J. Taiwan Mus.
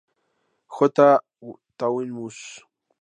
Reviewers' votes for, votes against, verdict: 0, 2, rejected